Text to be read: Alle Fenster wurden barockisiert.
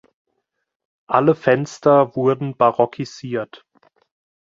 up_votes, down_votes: 2, 0